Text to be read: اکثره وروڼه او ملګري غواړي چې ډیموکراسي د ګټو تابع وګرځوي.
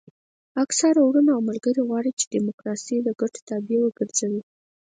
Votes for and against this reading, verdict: 4, 2, accepted